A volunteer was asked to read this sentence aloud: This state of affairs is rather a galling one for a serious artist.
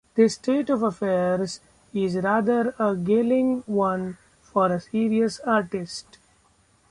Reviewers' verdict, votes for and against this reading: rejected, 1, 2